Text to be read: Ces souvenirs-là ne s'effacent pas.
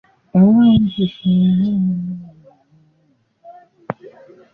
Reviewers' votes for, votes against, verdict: 0, 2, rejected